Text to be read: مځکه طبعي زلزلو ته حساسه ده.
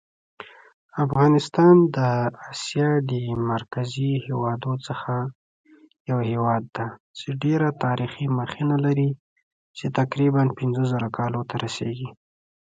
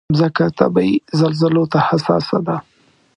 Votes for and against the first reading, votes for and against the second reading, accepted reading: 0, 3, 2, 0, second